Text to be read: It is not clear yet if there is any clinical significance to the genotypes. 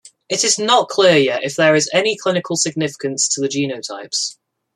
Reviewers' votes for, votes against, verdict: 2, 0, accepted